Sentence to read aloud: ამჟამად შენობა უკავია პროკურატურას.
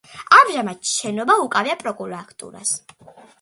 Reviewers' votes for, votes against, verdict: 2, 0, accepted